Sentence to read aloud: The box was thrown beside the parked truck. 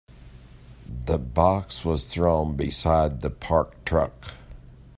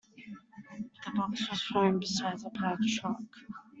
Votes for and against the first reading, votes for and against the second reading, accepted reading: 2, 0, 0, 2, first